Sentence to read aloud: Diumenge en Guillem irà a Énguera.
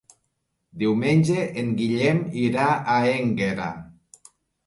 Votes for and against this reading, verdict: 2, 0, accepted